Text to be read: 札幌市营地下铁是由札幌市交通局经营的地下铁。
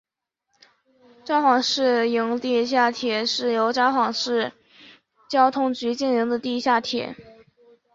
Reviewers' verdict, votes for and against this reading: accepted, 3, 0